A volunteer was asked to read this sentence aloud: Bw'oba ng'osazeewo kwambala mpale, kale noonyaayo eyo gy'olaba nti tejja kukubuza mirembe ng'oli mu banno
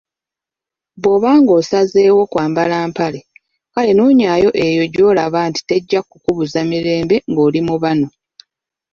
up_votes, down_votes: 1, 2